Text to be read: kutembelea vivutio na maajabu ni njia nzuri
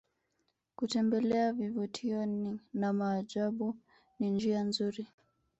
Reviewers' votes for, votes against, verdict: 0, 2, rejected